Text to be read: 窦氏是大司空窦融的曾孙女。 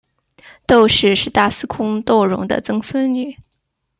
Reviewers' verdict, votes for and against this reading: accepted, 2, 0